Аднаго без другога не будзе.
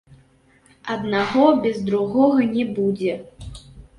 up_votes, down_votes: 2, 0